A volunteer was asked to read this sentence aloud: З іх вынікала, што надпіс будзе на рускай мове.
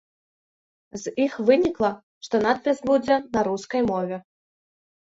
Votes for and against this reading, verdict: 1, 2, rejected